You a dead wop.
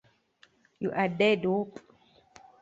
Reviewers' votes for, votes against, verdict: 2, 0, accepted